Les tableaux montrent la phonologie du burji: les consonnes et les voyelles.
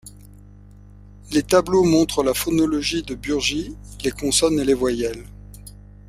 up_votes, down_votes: 0, 2